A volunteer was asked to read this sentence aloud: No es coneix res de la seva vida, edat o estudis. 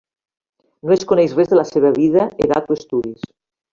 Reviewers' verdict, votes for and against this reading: accepted, 2, 0